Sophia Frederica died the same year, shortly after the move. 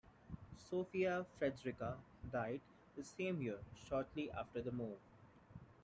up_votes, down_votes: 2, 0